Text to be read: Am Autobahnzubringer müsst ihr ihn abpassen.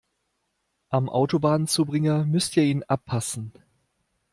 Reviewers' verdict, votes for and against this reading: accepted, 2, 0